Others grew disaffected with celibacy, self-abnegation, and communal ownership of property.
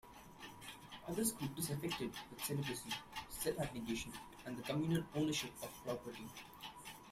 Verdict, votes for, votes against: rejected, 0, 2